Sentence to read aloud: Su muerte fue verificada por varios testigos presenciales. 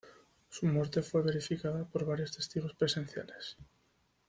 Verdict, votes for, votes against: accepted, 2, 0